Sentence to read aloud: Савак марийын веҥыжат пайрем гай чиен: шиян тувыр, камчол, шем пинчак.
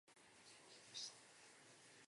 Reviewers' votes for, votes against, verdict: 0, 2, rejected